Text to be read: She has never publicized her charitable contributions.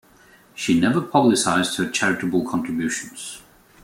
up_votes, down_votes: 0, 2